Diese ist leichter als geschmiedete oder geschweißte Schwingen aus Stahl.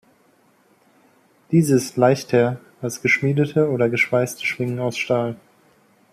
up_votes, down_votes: 1, 2